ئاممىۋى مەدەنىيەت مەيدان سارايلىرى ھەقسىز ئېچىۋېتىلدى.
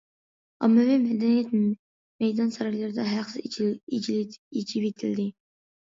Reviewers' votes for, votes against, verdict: 0, 2, rejected